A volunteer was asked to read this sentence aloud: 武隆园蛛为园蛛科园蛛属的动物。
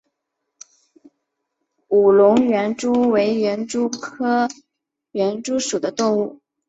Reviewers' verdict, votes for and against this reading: accepted, 2, 0